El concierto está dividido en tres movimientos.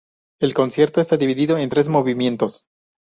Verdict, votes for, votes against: accepted, 2, 0